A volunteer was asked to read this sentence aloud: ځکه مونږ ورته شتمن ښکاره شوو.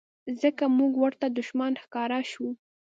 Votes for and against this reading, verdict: 1, 2, rejected